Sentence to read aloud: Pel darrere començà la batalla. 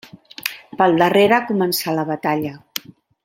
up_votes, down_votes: 2, 0